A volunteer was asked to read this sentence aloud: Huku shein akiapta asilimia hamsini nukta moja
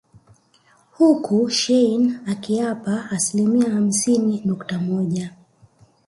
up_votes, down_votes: 1, 2